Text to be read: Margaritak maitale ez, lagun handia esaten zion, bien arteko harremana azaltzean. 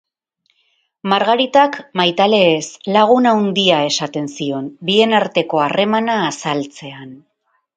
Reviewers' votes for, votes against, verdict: 0, 2, rejected